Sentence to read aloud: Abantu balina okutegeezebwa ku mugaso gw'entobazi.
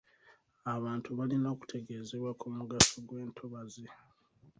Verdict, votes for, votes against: rejected, 1, 2